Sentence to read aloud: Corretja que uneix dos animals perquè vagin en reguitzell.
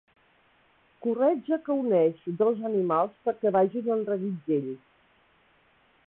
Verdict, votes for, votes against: rejected, 0, 2